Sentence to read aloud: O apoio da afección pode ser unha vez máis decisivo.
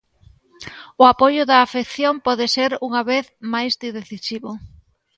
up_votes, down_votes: 2, 0